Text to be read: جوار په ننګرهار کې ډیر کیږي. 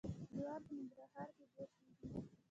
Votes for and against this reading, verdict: 1, 2, rejected